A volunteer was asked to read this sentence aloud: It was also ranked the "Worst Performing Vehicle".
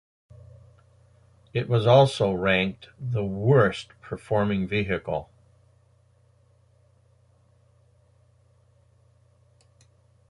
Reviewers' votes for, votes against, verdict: 2, 0, accepted